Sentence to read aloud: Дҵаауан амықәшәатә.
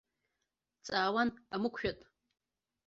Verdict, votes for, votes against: accepted, 2, 0